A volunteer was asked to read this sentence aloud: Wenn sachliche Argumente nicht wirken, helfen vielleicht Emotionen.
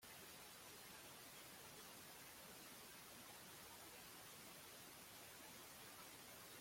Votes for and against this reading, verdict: 0, 2, rejected